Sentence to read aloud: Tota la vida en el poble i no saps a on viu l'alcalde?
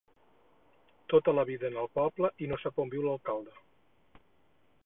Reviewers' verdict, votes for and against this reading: rejected, 0, 4